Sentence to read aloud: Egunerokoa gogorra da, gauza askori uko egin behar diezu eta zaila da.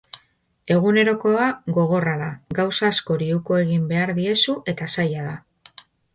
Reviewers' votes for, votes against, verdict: 2, 0, accepted